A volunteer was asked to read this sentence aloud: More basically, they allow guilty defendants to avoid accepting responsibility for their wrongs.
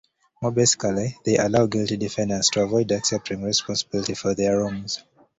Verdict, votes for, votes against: rejected, 1, 2